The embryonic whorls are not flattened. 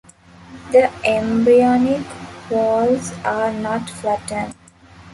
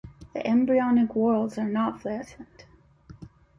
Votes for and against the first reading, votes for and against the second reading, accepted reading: 0, 2, 2, 0, second